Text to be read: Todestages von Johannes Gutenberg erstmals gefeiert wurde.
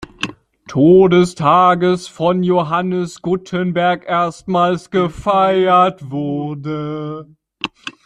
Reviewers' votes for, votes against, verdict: 0, 2, rejected